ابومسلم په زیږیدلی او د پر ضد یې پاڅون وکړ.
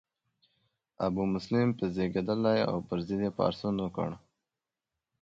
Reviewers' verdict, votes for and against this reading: accepted, 2, 0